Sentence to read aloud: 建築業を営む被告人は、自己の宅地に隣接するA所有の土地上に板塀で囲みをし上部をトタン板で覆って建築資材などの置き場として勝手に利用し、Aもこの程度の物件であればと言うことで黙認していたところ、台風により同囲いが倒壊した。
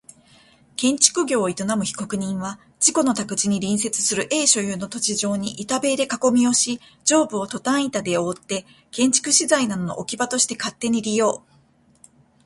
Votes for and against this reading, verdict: 2, 0, accepted